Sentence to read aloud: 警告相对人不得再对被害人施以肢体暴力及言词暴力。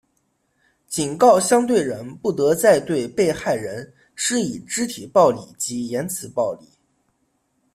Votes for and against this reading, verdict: 2, 0, accepted